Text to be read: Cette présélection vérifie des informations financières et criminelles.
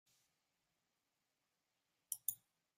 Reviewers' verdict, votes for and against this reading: rejected, 0, 2